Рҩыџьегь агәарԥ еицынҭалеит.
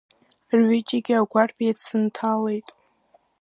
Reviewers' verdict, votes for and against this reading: rejected, 0, 2